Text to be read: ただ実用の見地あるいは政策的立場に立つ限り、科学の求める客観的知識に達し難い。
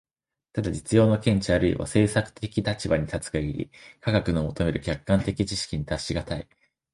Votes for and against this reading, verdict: 2, 0, accepted